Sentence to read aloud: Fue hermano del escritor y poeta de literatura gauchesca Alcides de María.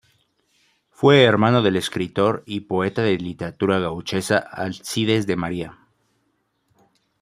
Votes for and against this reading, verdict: 2, 1, accepted